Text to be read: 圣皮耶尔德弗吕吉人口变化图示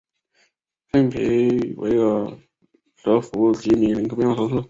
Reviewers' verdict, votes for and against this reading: rejected, 1, 2